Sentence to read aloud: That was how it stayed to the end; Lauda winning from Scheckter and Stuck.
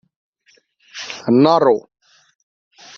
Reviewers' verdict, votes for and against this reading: rejected, 1, 2